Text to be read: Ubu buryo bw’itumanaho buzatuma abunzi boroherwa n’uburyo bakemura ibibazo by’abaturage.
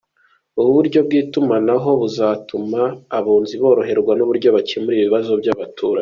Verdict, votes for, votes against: accepted, 2, 0